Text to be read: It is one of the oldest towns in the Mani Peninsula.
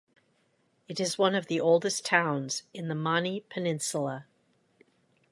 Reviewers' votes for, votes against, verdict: 2, 0, accepted